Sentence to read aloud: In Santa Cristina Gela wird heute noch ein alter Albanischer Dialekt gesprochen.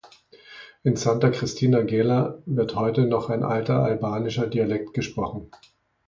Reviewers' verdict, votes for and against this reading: accepted, 2, 0